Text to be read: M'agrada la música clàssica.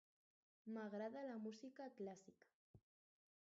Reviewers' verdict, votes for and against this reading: rejected, 2, 4